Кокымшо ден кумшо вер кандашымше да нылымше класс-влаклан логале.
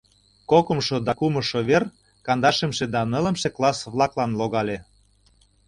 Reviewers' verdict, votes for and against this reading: rejected, 1, 2